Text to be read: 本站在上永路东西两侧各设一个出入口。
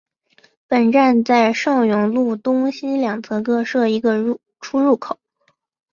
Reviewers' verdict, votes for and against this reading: rejected, 0, 2